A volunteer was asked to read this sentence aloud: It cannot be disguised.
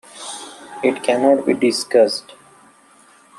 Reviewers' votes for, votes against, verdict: 0, 2, rejected